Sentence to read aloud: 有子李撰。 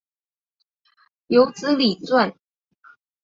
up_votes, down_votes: 2, 1